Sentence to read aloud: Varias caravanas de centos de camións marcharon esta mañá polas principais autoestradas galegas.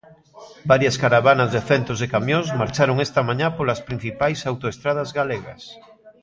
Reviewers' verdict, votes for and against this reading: rejected, 1, 2